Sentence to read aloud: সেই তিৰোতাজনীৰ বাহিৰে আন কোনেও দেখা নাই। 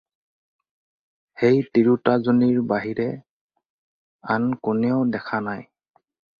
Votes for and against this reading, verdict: 4, 0, accepted